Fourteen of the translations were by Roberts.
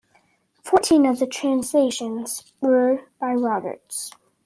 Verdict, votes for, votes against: accepted, 2, 0